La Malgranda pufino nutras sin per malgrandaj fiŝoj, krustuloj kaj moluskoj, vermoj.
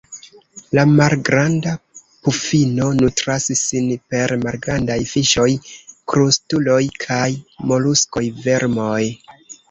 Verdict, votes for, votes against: rejected, 0, 2